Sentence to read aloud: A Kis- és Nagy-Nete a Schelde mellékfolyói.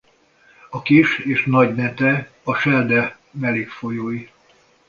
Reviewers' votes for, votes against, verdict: 2, 0, accepted